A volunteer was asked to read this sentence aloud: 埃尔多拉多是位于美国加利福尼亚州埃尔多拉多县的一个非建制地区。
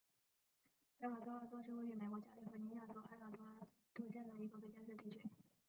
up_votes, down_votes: 0, 2